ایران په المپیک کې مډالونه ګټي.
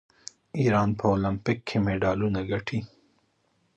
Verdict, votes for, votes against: rejected, 0, 2